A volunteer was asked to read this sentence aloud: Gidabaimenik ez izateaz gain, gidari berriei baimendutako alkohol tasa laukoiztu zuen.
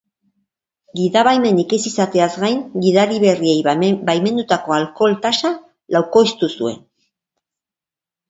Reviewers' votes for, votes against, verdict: 6, 3, accepted